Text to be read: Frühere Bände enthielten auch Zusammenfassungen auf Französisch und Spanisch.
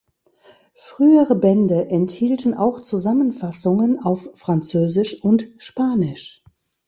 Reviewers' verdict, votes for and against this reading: accepted, 3, 0